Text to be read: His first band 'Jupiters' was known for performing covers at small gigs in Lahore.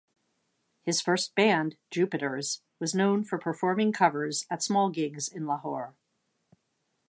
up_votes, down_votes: 2, 0